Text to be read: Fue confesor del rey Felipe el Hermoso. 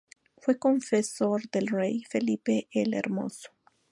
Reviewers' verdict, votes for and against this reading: accepted, 2, 0